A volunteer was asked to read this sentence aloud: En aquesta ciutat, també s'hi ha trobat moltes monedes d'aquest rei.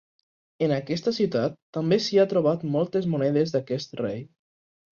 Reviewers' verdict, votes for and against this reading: accepted, 2, 0